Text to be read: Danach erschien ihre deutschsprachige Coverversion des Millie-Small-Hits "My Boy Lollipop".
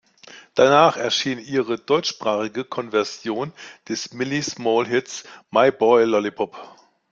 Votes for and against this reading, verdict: 0, 2, rejected